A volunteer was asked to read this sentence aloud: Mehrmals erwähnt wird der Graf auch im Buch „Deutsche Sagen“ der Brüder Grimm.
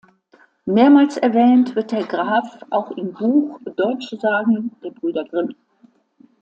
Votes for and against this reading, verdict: 2, 0, accepted